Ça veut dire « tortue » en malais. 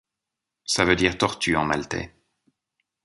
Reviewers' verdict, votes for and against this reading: rejected, 0, 2